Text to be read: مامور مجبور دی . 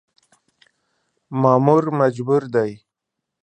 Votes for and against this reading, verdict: 2, 0, accepted